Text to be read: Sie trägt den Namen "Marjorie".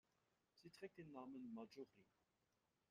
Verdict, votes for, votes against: rejected, 1, 2